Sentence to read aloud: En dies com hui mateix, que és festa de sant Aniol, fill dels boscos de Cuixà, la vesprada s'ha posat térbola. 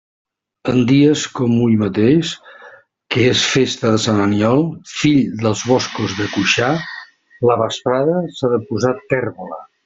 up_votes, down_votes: 0, 2